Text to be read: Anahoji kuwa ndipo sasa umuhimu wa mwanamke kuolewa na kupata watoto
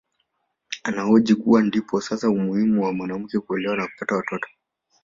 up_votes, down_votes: 0, 2